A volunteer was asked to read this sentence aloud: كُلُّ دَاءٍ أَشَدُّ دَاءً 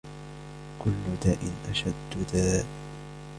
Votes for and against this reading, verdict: 1, 2, rejected